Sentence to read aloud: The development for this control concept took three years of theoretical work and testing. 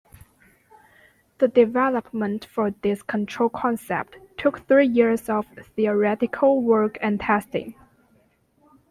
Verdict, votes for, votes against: accepted, 2, 1